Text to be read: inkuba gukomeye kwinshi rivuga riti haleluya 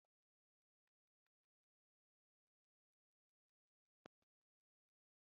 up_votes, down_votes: 1, 3